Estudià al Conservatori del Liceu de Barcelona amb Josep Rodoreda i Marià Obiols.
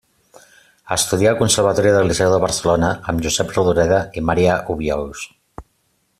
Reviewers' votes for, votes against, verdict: 2, 0, accepted